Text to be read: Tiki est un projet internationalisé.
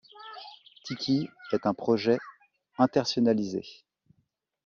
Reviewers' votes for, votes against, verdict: 1, 2, rejected